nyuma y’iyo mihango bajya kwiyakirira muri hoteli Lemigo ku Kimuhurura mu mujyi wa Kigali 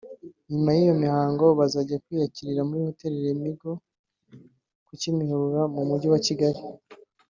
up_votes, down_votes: 2, 0